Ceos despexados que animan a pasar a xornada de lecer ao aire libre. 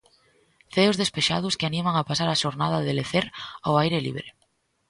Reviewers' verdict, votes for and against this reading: accepted, 2, 0